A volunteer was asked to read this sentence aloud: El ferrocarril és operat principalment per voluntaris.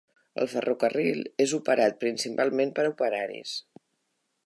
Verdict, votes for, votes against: rejected, 0, 2